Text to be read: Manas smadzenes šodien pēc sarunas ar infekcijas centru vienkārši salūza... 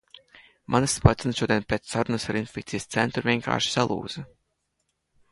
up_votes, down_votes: 0, 2